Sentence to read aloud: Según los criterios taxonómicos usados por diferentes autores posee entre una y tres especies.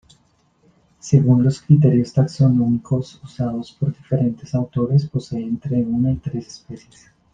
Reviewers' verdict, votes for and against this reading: accepted, 2, 0